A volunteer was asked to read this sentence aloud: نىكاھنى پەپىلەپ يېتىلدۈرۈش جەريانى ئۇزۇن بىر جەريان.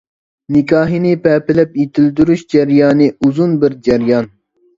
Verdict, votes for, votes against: rejected, 1, 2